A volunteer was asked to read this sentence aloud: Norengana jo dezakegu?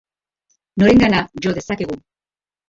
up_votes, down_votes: 2, 1